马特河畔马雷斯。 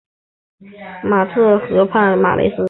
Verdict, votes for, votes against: accepted, 6, 0